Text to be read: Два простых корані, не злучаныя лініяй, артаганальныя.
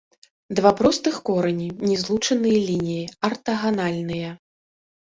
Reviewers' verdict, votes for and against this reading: rejected, 1, 3